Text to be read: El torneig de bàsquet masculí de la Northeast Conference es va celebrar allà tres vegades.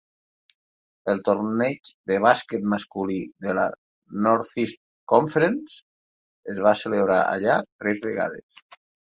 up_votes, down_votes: 4, 0